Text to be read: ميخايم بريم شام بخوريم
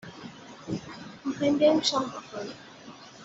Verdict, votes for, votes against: accepted, 2, 0